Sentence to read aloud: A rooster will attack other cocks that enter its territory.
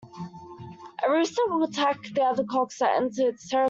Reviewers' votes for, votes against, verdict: 0, 2, rejected